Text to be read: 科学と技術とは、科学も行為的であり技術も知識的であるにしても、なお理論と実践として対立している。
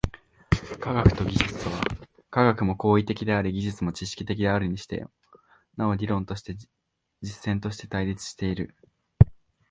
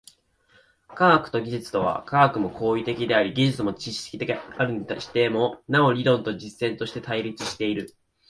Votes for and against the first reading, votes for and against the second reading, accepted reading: 0, 2, 2, 0, second